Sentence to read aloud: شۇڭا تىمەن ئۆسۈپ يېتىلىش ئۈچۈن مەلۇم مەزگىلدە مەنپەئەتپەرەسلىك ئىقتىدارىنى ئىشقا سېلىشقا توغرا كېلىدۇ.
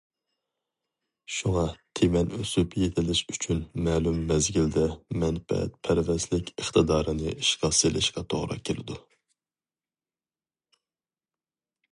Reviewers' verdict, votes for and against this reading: rejected, 0, 2